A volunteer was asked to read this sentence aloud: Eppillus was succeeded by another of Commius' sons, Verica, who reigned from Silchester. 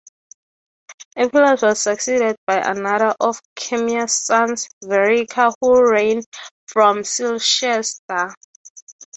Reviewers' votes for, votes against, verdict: 3, 0, accepted